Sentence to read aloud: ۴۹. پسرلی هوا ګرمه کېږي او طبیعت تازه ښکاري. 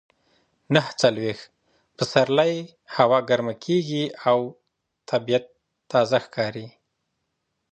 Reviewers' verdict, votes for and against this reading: rejected, 0, 2